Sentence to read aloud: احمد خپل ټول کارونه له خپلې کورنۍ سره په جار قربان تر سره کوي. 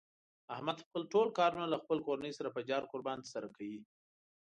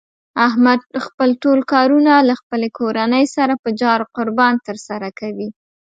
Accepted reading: second